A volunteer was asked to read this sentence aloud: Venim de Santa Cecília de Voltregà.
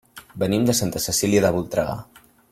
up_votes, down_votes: 3, 0